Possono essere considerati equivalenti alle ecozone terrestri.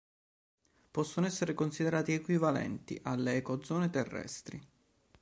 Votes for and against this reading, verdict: 2, 0, accepted